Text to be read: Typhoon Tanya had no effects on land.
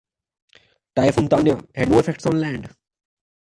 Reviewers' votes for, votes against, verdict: 1, 2, rejected